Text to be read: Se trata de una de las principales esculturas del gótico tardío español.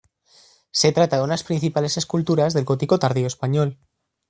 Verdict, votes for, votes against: rejected, 1, 2